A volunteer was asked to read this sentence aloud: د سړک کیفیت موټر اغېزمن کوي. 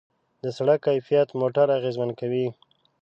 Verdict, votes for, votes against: accepted, 2, 0